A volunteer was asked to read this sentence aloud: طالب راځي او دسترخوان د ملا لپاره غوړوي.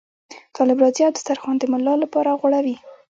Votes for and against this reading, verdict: 1, 2, rejected